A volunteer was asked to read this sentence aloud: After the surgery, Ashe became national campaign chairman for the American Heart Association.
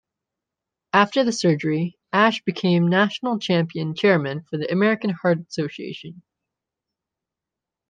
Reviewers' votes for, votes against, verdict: 0, 2, rejected